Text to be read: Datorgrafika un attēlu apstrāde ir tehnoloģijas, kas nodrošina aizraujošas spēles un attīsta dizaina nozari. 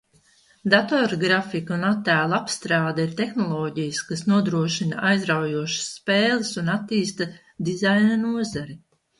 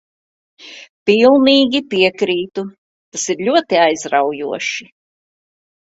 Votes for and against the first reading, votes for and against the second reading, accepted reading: 2, 0, 0, 2, first